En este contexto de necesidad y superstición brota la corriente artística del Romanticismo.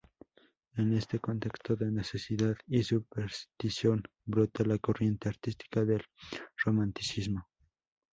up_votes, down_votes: 2, 0